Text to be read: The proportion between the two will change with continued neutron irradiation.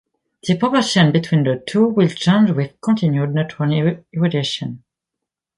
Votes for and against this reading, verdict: 1, 2, rejected